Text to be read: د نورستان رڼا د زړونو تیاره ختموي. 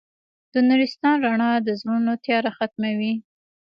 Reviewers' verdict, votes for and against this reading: rejected, 1, 2